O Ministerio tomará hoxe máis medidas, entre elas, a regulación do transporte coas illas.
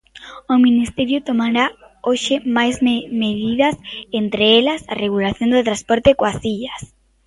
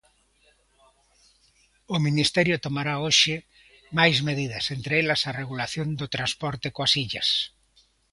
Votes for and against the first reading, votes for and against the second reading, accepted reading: 0, 2, 2, 0, second